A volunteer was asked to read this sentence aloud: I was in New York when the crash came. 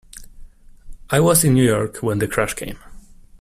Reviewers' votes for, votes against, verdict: 2, 0, accepted